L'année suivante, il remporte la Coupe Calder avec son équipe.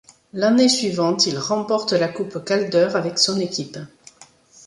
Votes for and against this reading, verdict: 2, 0, accepted